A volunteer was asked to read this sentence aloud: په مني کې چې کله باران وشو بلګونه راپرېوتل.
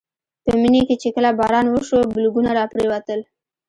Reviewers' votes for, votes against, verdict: 2, 0, accepted